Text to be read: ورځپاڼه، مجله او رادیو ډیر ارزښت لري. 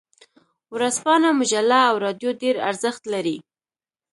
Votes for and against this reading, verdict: 1, 2, rejected